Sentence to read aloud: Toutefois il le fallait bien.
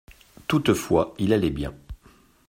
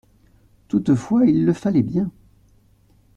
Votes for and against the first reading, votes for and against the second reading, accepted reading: 0, 2, 2, 0, second